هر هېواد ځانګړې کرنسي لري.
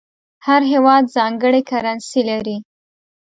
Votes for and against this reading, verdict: 2, 0, accepted